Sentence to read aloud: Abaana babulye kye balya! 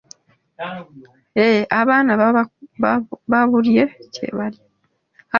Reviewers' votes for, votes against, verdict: 0, 2, rejected